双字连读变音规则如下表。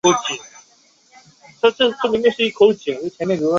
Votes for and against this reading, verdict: 1, 3, rejected